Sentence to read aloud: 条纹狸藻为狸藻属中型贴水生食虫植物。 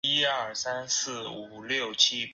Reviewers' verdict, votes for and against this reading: rejected, 1, 4